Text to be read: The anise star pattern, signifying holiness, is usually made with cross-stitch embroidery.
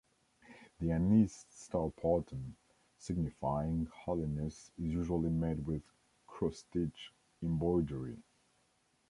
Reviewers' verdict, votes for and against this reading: rejected, 1, 2